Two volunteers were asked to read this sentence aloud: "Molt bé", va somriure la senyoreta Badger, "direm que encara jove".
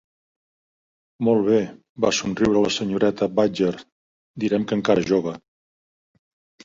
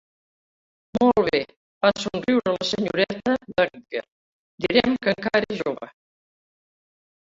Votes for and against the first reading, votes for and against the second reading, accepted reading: 2, 1, 0, 2, first